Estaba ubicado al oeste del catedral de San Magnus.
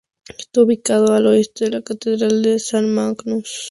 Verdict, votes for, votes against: rejected, 0, 4